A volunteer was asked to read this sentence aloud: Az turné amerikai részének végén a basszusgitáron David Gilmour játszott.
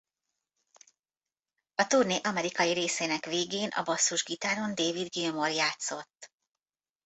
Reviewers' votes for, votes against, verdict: 0, 2, rejected